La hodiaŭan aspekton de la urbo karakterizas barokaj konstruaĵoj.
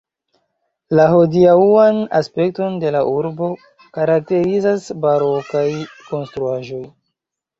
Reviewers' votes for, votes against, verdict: 0, 2, rejected